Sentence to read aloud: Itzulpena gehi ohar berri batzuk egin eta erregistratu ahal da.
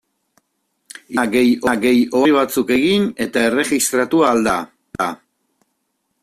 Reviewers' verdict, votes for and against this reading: rejected, 0, 2